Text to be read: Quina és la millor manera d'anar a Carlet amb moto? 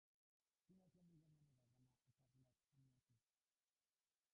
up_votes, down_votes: 0, 2